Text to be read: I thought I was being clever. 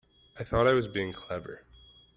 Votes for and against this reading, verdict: 2, 0, accepted